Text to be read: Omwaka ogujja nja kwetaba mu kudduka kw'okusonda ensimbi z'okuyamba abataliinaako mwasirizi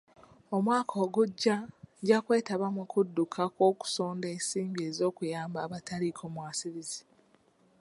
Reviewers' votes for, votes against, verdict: 1, 2, rejected